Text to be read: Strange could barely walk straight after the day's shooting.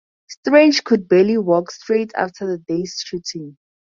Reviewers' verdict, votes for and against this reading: accepted, 4, 0